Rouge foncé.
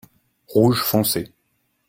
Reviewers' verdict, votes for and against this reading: accepted, 2, 0